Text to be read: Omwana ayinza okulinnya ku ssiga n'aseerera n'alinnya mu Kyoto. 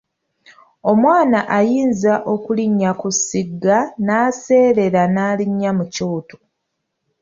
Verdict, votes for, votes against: rejected, 0, 2